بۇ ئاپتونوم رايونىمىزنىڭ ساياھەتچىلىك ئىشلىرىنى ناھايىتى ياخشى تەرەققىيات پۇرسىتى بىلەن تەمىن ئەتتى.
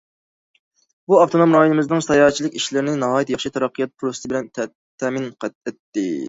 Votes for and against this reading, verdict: 0, 2, rejected